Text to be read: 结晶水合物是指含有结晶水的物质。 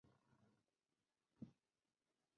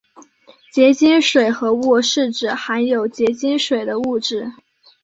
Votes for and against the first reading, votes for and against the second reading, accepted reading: 0, 3, 2, 0, second